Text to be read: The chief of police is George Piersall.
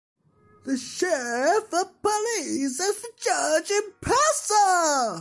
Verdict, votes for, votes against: rejected, 1, 2